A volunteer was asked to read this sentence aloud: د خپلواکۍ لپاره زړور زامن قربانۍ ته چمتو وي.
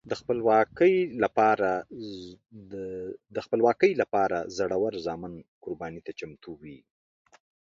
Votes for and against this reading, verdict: 2, 1, accepted